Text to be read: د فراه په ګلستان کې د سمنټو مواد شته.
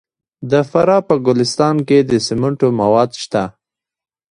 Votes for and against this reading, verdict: 0, 2, rejected